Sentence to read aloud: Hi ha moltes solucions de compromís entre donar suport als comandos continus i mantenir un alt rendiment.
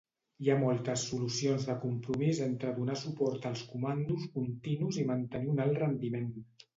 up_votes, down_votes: 2, 0